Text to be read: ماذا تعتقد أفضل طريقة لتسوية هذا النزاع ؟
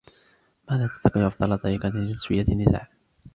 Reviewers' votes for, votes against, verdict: 1, 2, rejected